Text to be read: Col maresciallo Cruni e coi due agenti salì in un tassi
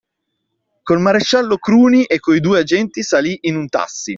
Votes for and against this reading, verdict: 2, 1, accepted